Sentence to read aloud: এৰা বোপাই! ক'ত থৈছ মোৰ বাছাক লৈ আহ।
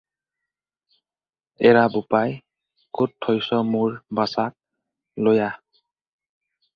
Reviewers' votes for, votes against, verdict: 4, 0, accepted